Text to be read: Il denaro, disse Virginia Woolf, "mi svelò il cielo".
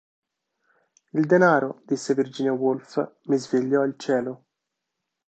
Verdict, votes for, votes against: rejected, 1, 2